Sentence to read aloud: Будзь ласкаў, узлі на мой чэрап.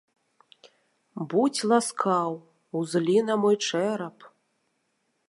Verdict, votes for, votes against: accepted, 2, 1